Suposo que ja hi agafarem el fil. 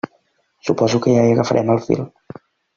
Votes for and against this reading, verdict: 2, 0, accepted